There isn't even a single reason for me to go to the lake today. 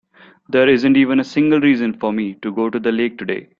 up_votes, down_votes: 2, 0